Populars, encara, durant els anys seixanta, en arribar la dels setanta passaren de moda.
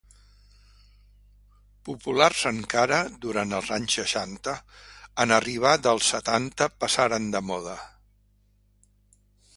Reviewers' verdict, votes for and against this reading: rejected, 1, 2